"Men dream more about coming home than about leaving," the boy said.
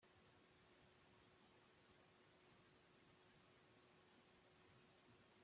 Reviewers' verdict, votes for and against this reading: rejected, 0, 3